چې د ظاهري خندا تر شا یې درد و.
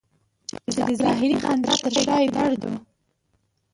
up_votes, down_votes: 0, 2